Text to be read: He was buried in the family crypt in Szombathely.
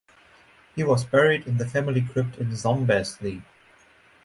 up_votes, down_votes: 4, 2